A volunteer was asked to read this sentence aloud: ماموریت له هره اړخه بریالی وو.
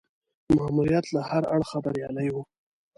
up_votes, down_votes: 2, 3